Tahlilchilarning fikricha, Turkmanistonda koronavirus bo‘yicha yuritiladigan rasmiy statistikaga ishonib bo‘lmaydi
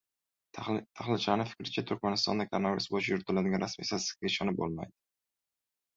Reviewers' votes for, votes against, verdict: 1, 2, rejected